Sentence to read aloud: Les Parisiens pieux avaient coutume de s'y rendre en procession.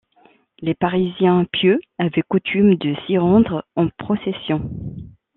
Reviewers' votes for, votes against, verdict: 2, 0, accepted